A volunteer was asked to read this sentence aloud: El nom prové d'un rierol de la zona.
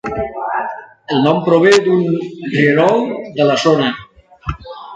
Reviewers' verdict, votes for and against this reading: rejected, 0, 2